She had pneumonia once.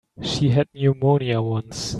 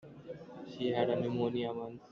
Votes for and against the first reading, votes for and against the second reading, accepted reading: 2, 0, 1, 3, first